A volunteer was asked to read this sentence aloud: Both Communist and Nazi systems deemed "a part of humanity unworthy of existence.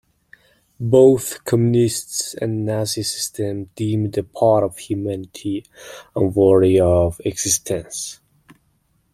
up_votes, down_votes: 0, 2